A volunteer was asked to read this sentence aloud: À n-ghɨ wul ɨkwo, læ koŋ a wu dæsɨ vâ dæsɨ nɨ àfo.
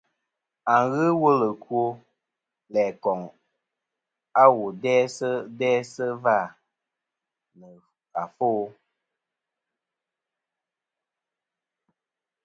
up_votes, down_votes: 1, 2